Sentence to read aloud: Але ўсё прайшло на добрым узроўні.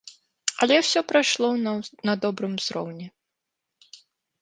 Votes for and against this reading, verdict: 1, 2, rejected